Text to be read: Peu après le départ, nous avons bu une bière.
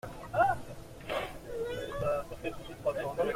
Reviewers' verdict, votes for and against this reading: rejected, 0, 2